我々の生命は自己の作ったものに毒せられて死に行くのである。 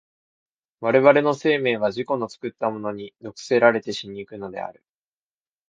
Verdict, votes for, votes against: accepted, 3, 0